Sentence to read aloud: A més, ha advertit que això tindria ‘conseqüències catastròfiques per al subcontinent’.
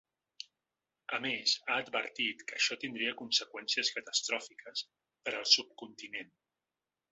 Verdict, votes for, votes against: accepted, 2, 1